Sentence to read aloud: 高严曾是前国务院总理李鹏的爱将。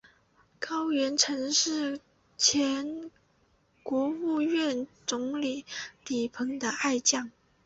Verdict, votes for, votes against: accepted, 3, 0